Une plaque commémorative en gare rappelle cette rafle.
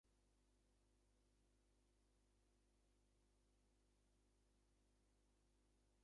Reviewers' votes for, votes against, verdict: 0, 2, rejected